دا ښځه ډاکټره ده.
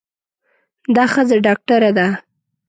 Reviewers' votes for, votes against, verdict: 2, 0, accepted